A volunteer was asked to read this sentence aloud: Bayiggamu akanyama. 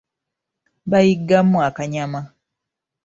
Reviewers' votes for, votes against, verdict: 2, 0, accepted